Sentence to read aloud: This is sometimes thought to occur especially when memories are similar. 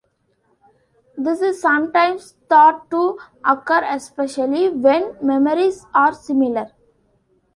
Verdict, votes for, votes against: rejected, 0, 2